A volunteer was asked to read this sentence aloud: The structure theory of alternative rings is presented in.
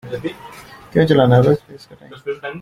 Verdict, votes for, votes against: rejected, 0, 2